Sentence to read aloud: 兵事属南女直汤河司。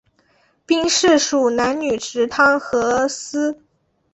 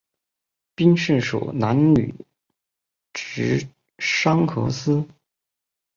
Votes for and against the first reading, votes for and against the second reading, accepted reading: 4, 0, 0, 4, first